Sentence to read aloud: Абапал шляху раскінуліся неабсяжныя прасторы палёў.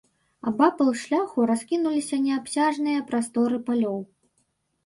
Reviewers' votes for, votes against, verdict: 2, 0, accepted